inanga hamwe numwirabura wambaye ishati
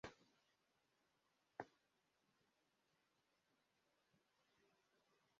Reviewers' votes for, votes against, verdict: 0, 2, rejected